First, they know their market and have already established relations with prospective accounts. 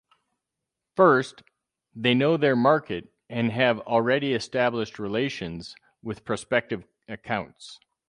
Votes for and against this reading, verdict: 4, 0, accepted